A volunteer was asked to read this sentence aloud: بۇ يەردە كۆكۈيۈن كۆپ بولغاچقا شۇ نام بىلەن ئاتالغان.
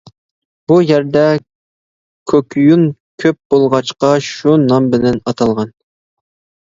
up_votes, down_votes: 2, 0